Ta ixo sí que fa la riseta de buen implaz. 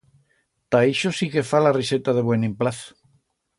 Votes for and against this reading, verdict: 2, 0, accepted